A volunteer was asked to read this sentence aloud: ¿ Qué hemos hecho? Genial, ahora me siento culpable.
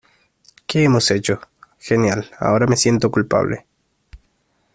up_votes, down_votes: 2, 0